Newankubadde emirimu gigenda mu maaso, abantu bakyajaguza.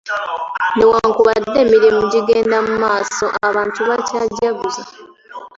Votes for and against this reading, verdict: 2, 1, accepted